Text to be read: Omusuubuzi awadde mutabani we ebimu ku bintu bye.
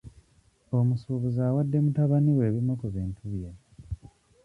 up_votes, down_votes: 2, 0